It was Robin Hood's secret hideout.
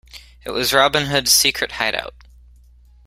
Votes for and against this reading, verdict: 2, 0, accepted